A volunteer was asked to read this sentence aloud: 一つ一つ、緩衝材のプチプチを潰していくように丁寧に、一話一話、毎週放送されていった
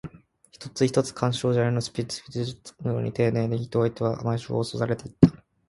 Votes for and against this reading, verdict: 0, 2, rejected